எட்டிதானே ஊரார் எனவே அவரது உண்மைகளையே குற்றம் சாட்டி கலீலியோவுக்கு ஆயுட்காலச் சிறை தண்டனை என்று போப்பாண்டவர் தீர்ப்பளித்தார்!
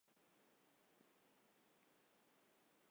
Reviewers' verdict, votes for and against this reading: rejected, 1, 2